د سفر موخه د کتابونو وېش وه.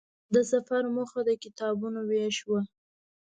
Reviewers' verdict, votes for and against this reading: rejected, 1, 2